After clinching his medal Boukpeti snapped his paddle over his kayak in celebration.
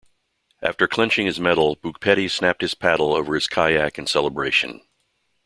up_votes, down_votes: 2, 0